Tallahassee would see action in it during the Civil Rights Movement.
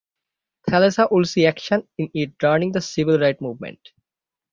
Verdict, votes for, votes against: rejected, 0, 6